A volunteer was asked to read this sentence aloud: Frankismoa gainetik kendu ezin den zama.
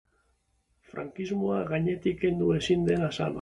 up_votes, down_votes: 0, 2